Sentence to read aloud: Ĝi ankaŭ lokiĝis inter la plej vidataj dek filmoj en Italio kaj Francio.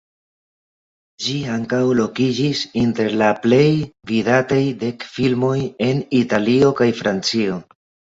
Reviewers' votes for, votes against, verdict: 2, 1, accepted